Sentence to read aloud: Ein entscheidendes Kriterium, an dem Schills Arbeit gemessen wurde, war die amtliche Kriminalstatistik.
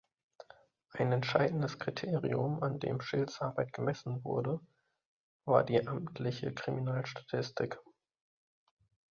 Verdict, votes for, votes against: accepted, 2, 0